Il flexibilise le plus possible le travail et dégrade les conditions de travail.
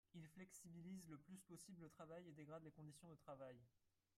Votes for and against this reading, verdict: 0, 4, rejected